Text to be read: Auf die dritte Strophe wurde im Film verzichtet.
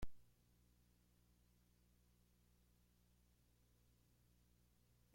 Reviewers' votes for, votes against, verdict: 0, 2, rejected